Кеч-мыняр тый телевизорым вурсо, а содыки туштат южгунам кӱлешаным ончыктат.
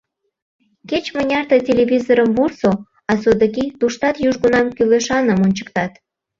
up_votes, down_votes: 2, 0